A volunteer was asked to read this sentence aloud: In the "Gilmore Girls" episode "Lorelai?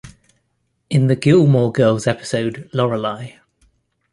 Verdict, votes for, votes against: rejected, 1, 2